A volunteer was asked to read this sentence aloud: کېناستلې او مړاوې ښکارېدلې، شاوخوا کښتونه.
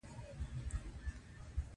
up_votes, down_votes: 1, 2